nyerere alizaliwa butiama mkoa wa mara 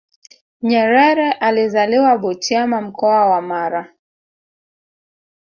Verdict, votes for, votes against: rejected, 0, 2